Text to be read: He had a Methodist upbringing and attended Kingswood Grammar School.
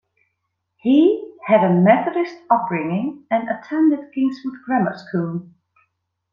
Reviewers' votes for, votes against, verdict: 2, 0, accepted